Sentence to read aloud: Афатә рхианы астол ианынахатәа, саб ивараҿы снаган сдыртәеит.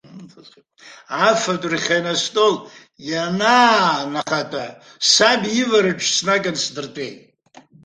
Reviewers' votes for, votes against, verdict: 0, 2, rejected